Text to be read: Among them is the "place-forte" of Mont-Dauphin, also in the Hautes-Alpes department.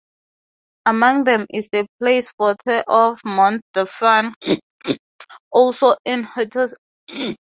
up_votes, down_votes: 0, 4